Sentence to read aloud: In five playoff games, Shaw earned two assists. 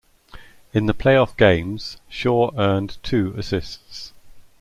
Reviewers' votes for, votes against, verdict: 0, 2, rejected